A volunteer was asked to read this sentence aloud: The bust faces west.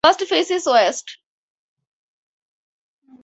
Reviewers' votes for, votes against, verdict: 2, 4, rejected